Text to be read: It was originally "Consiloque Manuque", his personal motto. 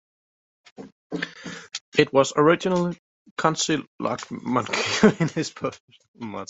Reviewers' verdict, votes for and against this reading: rejected, 1, 2